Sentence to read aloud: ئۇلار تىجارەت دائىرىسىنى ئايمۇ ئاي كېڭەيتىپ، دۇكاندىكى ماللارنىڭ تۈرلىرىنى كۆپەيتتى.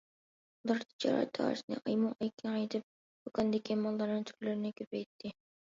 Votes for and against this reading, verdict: 1, 2, rejected